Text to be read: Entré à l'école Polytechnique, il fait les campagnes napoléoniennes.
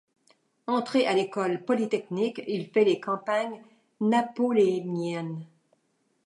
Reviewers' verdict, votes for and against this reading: accepted, 2, 1